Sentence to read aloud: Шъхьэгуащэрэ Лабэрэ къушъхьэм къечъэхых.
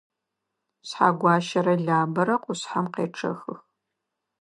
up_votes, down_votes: 2, 0